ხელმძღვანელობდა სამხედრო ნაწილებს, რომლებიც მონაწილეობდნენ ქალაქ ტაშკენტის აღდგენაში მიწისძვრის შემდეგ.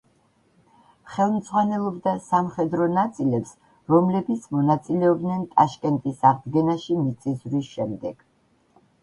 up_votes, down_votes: 0, 2